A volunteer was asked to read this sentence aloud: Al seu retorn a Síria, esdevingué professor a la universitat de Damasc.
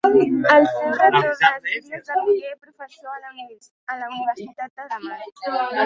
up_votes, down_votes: 0, 2